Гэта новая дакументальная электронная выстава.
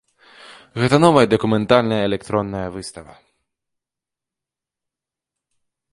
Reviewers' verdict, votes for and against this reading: rejected, 0, 2